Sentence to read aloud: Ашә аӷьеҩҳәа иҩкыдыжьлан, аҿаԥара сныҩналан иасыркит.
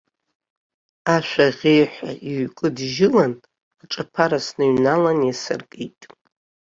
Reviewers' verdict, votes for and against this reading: rejected, 0, 3